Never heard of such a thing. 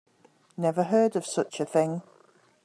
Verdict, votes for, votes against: accepted, 2, 0